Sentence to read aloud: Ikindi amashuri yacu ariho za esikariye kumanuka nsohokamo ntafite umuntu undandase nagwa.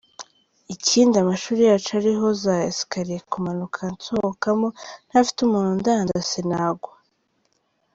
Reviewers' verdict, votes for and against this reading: rejected, 1, 2